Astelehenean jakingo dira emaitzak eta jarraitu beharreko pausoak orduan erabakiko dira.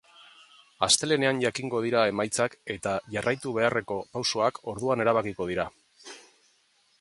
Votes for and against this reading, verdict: 2, 0, accepted